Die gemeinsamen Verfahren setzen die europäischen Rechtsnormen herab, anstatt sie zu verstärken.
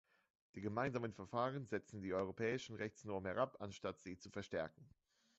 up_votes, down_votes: 2, 0